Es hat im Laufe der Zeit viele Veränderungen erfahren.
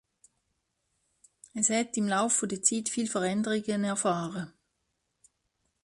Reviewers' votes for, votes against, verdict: 0, 2, rejected